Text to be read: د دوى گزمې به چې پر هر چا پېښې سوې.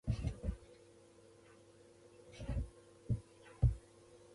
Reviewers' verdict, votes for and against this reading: rejected, 0, 2